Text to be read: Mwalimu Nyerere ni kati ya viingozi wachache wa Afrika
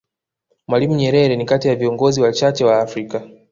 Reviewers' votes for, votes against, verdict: 2, 0, accepted